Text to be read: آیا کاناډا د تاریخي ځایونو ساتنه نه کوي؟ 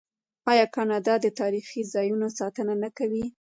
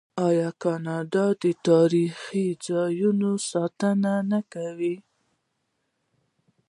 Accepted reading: second